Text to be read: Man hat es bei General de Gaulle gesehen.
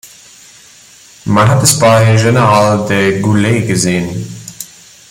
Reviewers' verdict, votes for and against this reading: rejected, 0, 2